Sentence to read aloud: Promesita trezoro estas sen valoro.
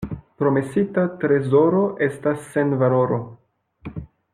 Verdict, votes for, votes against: accepted, 2, 0